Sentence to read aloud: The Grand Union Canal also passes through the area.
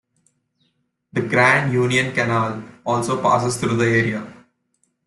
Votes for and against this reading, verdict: 2, 0, accepted